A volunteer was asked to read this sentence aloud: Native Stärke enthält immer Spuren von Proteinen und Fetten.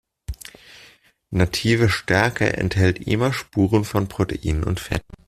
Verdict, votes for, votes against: accepted, 2, 0